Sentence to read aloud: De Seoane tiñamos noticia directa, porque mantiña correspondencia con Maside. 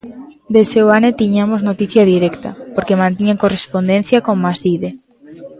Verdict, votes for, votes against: rejected, 1, 2